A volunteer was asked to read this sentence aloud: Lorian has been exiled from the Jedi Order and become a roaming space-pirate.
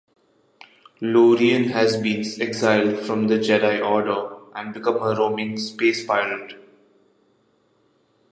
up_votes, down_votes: 2, 0